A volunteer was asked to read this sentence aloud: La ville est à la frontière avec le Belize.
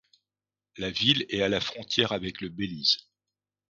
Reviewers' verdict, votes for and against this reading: accepted, 2, 0